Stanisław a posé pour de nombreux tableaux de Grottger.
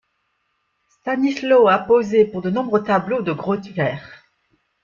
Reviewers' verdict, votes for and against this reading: rejected, 1, 2